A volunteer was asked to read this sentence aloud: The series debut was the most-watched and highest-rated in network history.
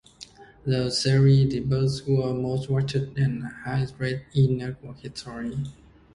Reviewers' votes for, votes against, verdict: 0, 2, rejected